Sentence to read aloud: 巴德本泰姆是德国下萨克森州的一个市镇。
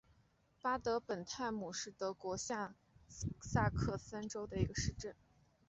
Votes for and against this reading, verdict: 0, 2, rejected